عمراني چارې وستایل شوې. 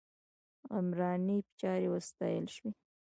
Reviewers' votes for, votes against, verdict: 2, 0, accepted